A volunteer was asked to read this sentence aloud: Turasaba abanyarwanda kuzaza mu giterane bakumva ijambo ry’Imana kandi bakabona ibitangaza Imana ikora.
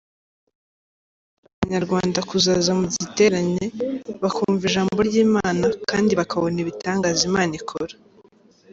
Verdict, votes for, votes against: rejected, 0, 2